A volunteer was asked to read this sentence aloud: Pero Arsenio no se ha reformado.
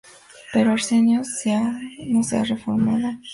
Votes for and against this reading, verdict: 0, 2, rejected